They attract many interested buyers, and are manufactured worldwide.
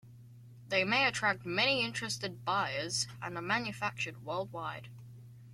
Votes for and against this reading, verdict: 0, 2, rejected